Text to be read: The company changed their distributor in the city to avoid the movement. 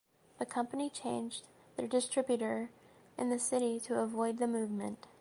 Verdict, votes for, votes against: accepted, 2, 0